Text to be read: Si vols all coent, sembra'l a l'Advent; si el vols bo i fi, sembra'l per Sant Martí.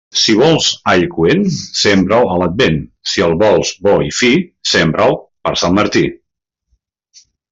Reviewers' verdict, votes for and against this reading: accepted, 2, 0